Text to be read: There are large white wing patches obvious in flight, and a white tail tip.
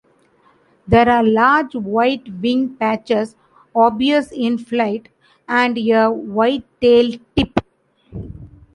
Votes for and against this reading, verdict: 2, 0, accepted